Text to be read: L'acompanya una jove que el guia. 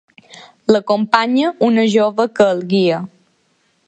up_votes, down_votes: 2, 0